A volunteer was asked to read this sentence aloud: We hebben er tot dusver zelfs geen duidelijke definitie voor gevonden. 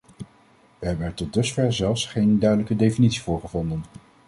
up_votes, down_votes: 2, 0